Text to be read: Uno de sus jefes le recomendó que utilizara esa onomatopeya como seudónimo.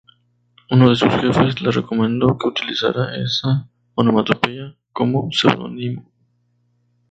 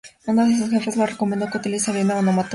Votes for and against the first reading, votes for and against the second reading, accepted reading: 2, 0, 2, 2, first